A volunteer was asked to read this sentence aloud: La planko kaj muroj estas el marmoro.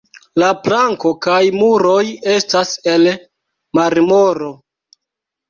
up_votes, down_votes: 2, 1